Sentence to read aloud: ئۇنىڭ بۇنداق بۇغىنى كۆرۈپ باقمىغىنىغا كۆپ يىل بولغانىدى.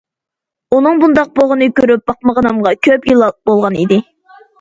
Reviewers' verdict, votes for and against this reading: rejected, 1, 2